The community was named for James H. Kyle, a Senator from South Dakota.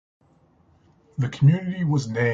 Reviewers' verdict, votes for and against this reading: rejected, 0, 2